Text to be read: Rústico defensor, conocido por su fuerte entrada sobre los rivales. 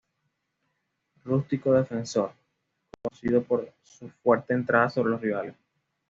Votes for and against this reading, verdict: 2, 0, accepted